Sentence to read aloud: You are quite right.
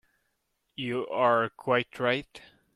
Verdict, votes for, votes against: accepted, 2, 0